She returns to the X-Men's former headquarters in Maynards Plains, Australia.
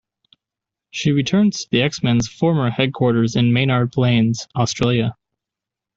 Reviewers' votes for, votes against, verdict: 2, 0, accepted